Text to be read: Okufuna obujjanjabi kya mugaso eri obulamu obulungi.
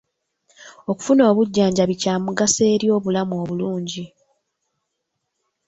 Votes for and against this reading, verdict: 1, 2, rejected